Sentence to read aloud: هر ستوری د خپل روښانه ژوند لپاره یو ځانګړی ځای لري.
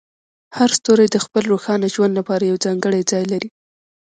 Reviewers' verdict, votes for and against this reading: accepted, 2, 0